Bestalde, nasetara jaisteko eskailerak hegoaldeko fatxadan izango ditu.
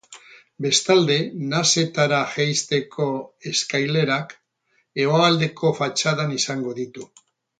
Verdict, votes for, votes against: rejected, 4, 4